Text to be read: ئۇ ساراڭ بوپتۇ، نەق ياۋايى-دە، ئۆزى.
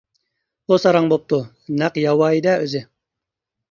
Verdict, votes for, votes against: accepted, 2, 0